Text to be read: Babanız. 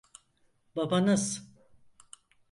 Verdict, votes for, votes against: accepted, 4, 0